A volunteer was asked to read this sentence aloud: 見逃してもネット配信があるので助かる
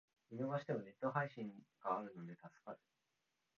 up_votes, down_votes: 0, 3